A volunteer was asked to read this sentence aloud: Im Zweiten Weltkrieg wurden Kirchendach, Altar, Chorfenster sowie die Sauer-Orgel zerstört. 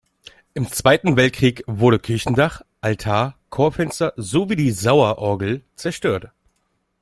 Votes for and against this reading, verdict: 1, 2, rejected